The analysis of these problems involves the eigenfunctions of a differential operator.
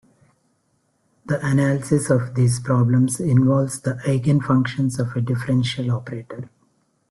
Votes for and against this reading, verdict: 0, 2, rejected